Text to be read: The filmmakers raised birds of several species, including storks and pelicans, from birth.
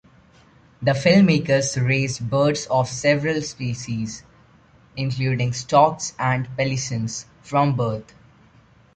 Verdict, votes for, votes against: rejected, 0, 2